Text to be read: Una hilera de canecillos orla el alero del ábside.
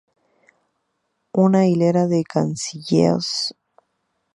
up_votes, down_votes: 0, 2